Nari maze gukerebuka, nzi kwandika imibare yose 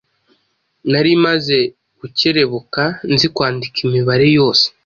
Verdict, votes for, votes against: accepted, 2, 0